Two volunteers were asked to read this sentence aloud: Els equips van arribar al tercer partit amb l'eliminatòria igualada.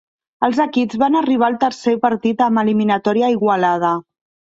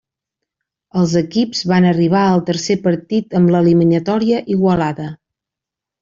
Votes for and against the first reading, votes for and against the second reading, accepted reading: 0, 2, 3, 0, second